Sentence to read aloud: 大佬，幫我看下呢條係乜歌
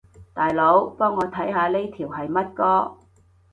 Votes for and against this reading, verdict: 2, 0, accepted